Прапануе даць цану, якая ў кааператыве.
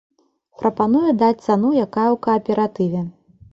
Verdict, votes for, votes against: accepted, 2, 0